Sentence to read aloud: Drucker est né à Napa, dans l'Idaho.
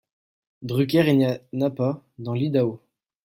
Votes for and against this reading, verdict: 2, 0, accepted